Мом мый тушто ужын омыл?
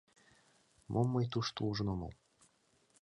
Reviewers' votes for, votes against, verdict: 1, 2, rejected